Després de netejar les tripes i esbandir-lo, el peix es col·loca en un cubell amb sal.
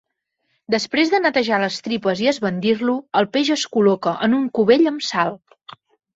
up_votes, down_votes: 3, 0